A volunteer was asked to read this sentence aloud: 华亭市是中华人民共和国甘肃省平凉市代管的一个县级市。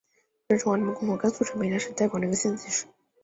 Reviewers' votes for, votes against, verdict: 1, 2, rejected